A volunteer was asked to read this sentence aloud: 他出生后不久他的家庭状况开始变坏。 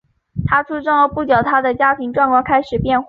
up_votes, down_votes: 2, 1